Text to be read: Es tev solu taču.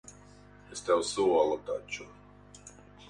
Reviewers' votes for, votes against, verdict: 2, 2, rejected